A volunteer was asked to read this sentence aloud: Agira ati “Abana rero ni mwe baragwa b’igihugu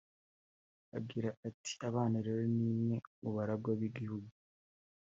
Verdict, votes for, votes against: accepted, 3, 0